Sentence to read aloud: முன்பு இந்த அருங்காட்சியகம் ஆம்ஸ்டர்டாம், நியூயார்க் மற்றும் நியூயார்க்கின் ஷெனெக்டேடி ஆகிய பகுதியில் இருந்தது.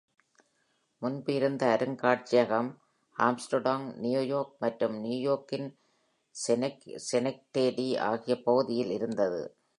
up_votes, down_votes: 1, 3